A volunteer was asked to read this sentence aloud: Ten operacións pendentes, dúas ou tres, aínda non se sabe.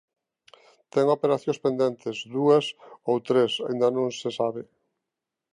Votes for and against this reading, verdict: 2, 0, accepted